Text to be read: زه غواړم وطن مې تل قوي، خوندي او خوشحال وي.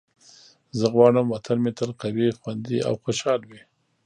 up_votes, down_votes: 1, 2